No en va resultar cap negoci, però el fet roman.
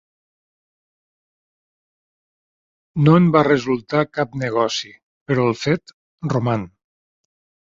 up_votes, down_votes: 3, 0